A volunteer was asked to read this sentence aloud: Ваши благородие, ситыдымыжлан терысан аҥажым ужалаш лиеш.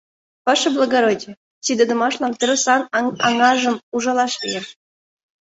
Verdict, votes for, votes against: rejected, 1, 2